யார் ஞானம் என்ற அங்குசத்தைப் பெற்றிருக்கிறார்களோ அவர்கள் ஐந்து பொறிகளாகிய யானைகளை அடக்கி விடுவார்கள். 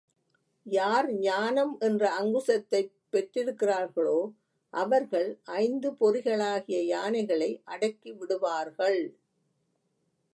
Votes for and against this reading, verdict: 0, 2, rejected